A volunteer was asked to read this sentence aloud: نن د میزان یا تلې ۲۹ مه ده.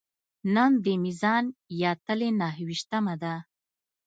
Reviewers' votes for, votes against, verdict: 0, 2, rejected